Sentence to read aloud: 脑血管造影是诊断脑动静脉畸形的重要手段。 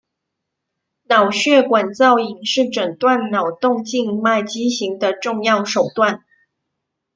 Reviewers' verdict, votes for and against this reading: accepted, 2, 0